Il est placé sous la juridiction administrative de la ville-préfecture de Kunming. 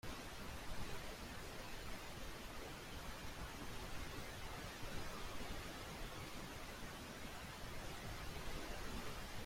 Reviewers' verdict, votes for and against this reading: rejected, 0, 2